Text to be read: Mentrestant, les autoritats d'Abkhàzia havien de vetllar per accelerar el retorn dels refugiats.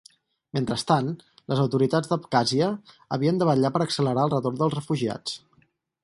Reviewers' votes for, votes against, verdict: 4, 0, accepted